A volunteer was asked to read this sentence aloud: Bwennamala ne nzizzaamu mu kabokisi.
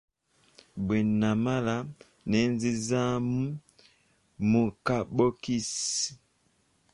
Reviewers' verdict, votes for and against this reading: rejected, 1, 2